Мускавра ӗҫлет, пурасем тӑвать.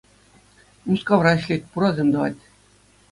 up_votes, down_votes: 2, 0